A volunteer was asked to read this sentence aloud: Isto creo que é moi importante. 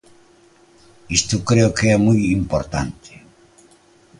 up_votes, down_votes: 2, 0